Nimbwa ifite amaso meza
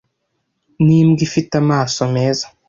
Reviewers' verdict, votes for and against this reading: accepted, 2, 0